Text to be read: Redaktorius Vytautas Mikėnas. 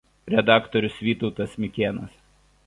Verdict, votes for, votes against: accepted, 2, 0